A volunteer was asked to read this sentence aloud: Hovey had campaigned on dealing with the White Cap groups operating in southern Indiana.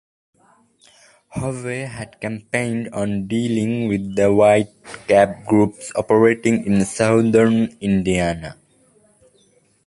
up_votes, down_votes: 2, 0